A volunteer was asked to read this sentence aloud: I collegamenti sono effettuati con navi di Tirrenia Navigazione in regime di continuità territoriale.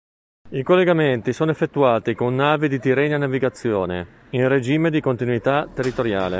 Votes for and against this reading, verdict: 3, 0, accepted